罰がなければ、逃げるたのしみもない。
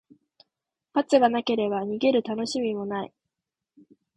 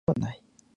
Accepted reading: first